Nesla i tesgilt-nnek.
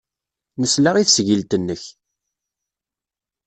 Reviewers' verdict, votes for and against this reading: accepted, 2, 0